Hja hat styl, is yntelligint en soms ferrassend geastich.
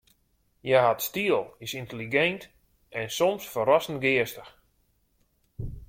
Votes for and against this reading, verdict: 2, 1, accepted